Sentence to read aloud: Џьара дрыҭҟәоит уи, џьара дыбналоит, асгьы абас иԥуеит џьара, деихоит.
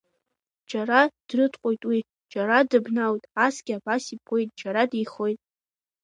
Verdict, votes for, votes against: accepted, 2, 0